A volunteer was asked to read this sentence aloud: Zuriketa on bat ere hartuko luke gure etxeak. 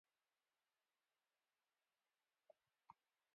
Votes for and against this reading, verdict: 0, 3, rejected